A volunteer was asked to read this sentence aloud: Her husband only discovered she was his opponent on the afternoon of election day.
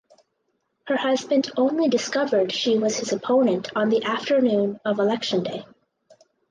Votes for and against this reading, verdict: 6, 0, accepted